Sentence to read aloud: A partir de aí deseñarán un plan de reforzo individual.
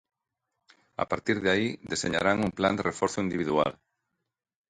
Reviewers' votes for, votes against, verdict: 2, 0, accepted